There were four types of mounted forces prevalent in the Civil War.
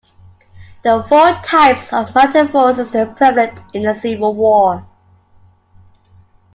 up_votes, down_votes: 2, 1